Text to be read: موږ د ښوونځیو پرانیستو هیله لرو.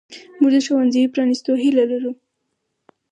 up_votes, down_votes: 4, 0